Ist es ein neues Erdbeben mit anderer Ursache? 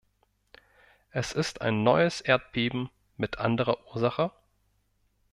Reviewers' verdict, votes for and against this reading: rejected, 0, 2